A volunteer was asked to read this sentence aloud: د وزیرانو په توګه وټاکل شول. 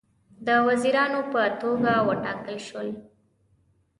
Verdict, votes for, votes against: accepted, 2, 0